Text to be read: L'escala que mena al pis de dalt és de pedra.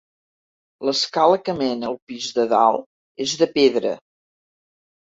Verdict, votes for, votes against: accepted, 2, 0